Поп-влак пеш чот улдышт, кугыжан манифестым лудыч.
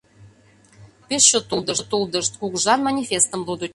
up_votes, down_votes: 0, 2